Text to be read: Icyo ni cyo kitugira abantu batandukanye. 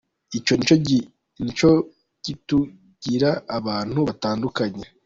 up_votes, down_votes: 1, 2